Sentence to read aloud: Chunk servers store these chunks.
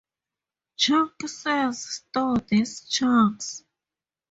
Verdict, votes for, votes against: rejected, 0, 2